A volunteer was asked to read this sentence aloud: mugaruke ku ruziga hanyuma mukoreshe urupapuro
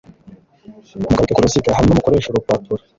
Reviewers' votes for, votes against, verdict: 1, 2, rejected